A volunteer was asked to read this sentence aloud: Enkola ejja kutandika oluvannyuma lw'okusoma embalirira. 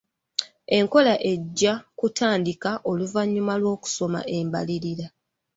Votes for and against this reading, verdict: 2, 1, accepted